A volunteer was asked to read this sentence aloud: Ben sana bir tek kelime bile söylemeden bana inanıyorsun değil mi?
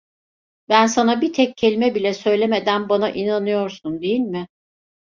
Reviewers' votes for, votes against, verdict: 2, 0, accepted